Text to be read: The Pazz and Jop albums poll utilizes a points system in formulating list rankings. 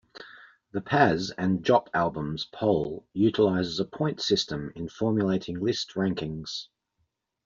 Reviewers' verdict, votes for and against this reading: accepted, 2, 1